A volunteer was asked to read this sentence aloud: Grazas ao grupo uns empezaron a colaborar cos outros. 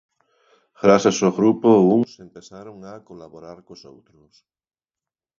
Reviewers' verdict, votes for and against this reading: rejected, 0, 2